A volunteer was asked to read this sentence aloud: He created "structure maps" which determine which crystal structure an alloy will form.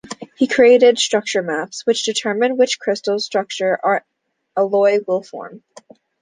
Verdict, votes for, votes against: rejected, 0, 2